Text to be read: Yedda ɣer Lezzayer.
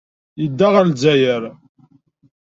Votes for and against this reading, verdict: 2, 0, accepted